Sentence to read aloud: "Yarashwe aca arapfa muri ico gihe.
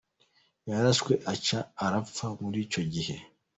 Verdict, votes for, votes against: accepted, 2, 0